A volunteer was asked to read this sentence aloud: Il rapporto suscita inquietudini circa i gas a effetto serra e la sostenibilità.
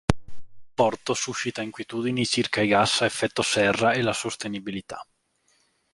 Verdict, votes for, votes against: rejected, 1, 2